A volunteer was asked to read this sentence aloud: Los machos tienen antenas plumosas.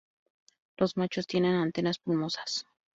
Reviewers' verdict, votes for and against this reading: rejected, 2, 2